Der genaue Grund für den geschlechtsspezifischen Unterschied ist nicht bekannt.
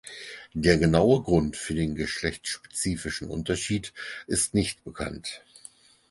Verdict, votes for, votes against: accepted, 4, 0